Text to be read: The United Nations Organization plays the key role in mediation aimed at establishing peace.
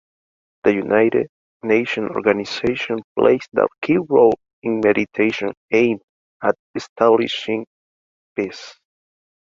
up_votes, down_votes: 0, 2